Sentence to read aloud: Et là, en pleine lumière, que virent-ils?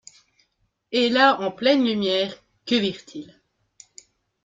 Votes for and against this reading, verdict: 0, 2, rejected